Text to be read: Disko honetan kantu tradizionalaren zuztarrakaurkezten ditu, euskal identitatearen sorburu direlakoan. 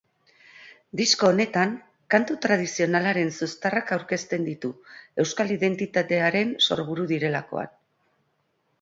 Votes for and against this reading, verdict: 4, 0, accepted